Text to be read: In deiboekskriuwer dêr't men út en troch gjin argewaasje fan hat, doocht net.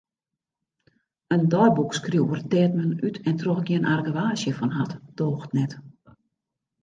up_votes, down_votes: 2, 0